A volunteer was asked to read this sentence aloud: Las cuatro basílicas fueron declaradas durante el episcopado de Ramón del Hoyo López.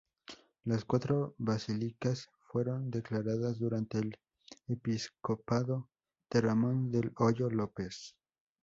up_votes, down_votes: 2, 2